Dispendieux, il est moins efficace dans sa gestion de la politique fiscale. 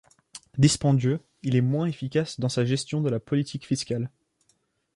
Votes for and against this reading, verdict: 2, 0, accepted